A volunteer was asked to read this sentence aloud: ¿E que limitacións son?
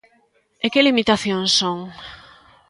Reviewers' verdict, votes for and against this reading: accepted, 2, 0